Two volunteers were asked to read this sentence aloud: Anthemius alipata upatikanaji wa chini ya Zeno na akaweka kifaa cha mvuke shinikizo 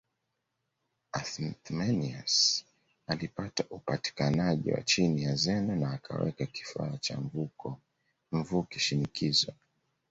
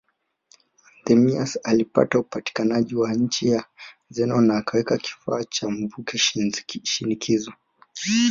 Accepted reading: second